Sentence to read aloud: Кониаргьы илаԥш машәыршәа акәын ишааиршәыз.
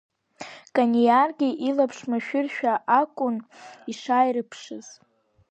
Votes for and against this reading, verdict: 2, 3, rejected